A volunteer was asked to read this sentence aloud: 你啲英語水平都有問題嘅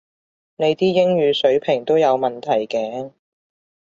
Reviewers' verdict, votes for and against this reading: accepted, 2, 0